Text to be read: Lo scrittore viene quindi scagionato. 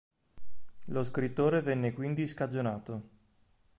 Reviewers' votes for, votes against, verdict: 0, 2, rejected